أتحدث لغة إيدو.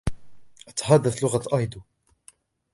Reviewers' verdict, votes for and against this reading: rejected, 1, 2